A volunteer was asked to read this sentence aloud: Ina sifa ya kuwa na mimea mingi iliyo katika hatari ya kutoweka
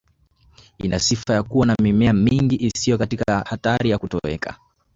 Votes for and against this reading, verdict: 1, 2, rejected